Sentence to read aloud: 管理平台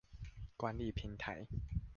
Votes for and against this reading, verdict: 2, 0, accepted